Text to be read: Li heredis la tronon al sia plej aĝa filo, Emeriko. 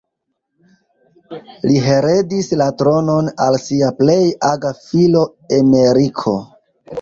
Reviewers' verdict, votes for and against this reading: rejected, 0, 3